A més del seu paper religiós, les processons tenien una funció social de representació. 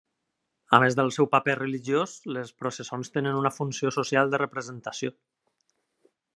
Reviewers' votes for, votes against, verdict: 0, 2, rejected